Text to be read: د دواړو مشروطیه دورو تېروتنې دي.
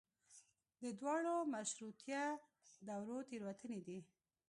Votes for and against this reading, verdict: 1, 2, rejected